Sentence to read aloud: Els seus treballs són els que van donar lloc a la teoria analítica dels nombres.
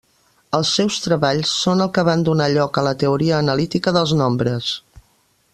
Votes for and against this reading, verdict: 1, 2, rejected